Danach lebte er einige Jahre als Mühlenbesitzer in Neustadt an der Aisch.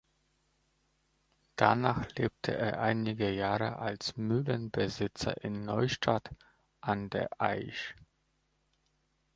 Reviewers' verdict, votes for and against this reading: accepted, 2, 0